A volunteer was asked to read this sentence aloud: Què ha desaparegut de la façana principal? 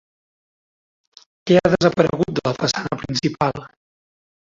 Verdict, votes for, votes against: rejected, 1, 2